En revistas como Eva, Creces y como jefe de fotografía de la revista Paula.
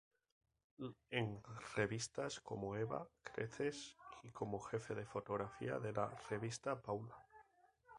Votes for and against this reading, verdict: 0, 2, rejected